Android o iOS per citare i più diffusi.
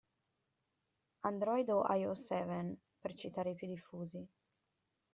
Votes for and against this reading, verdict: 0, 2, rejected